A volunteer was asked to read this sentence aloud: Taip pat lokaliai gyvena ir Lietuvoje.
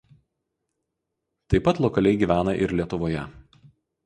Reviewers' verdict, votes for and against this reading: accepted, 4, 0